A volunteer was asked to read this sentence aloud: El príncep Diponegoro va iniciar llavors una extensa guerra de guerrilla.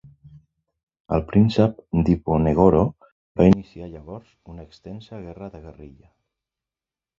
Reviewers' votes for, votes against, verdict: 1, 2, rejected